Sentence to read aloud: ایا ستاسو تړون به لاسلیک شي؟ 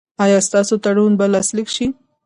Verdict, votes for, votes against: rejected, 0, 2